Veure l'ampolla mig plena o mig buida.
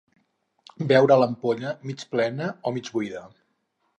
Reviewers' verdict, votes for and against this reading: accepted, 4, 0